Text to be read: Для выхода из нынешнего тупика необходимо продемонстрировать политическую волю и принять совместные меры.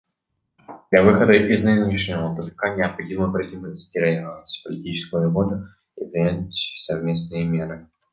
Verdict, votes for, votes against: accepted, 2, 1